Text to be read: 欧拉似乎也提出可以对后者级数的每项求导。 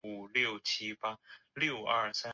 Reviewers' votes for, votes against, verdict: 0, 4, rejected